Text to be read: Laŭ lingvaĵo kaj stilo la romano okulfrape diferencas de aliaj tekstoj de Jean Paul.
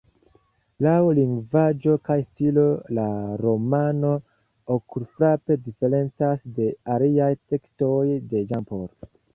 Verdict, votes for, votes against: rejected, 0, 2